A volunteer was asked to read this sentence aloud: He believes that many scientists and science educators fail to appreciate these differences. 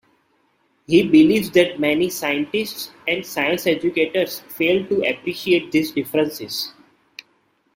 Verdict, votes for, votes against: accepted, 2, 0